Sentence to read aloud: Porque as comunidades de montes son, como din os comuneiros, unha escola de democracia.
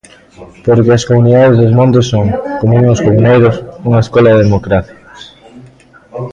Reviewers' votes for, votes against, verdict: 1, 2, rejected